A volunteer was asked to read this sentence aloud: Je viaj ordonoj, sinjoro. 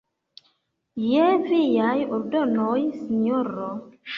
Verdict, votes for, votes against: rejected, 0, 2